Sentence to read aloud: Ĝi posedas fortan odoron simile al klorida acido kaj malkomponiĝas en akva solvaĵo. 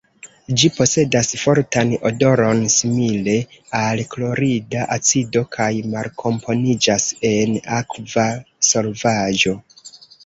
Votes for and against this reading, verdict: 1, 2, rejected